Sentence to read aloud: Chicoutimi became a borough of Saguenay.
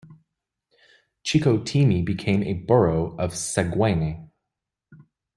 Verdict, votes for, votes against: rejected, 0, 2